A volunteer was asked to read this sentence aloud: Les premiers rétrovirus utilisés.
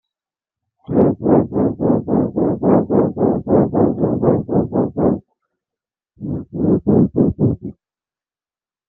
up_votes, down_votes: 0, 2